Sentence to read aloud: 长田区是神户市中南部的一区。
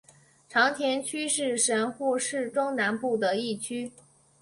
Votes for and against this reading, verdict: 1, 2, rejected